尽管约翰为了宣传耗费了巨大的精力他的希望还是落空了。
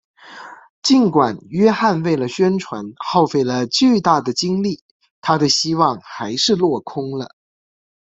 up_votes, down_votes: 2, 0